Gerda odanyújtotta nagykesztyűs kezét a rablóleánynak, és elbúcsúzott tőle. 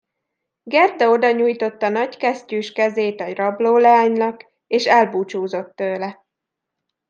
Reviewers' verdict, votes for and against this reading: accepted, 2, 0